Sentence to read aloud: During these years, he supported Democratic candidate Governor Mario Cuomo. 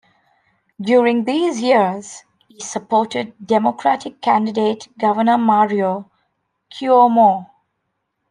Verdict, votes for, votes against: accepted, 2, 0